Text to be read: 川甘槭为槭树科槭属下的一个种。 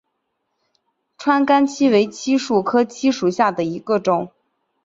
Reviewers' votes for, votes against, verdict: 2, 0, accepted